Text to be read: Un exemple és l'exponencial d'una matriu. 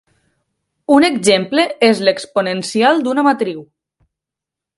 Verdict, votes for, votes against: accepted, 2, 0